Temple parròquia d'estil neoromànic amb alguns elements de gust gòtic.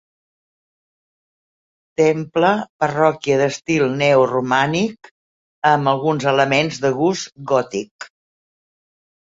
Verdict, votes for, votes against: accepted, 3, 0